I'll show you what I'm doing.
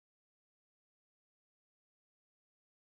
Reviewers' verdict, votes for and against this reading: rejected, 0, 2